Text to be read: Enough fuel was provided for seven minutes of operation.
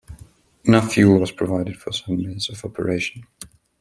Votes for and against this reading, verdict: 1, 2, rejected